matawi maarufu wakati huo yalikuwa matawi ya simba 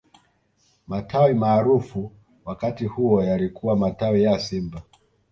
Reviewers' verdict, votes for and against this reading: accepted, 2, 0